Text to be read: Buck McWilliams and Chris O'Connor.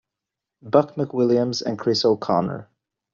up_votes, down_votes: 2, 0